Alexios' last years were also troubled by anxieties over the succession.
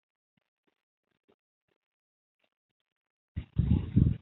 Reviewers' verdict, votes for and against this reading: rejected, 0, 2